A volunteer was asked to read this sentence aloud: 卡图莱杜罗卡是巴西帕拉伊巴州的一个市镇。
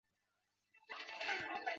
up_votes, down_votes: 4, 3